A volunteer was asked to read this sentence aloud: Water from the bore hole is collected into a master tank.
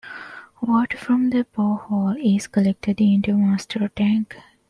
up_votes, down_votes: 2, 1